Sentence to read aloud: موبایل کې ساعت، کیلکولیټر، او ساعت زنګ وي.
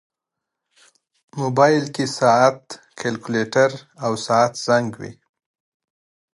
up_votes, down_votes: 2, 0